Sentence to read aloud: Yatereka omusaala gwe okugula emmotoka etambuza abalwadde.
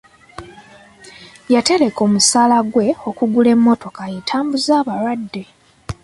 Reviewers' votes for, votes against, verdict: 3, 0, accepted